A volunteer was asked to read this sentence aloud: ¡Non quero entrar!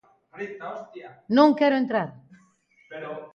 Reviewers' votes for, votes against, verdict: 1, 2, rejected